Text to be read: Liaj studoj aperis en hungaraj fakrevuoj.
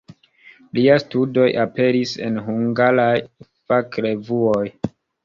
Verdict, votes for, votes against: rejected, 1, 2